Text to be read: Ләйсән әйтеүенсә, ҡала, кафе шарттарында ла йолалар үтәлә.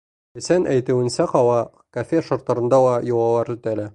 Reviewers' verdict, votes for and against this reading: rejected, 1, 2